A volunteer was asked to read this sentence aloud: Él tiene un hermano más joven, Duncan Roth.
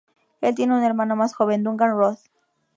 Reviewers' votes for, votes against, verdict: 2, 0, accepted